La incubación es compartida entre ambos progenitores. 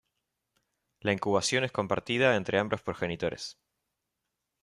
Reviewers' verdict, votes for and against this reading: rejected, 1, 2